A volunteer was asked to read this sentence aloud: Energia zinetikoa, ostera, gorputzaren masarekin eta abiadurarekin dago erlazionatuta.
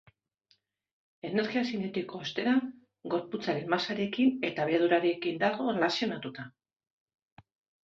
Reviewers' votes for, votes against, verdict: 2, 1, accepted